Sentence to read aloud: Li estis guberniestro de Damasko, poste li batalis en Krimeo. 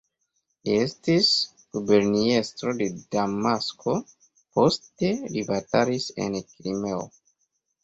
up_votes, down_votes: 2, 0